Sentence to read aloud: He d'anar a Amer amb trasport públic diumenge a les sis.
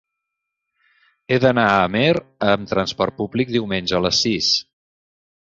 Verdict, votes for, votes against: accepted, 3, 0